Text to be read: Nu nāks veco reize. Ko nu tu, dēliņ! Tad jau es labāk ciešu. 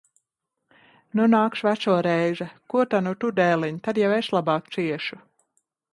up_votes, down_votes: 0, 2